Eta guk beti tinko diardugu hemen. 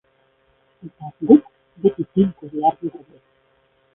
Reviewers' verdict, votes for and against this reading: rejected, 0, 2